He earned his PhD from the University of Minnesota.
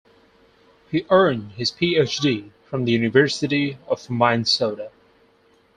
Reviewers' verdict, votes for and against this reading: rejected, 2, 2